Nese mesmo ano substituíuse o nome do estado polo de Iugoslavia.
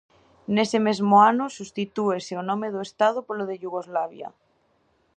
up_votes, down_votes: 0, 2